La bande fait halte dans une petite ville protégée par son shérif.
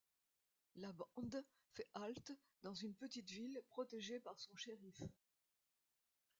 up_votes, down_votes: 0, 2